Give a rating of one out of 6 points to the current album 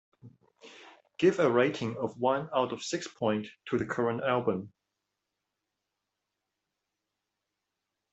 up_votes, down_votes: 0, 2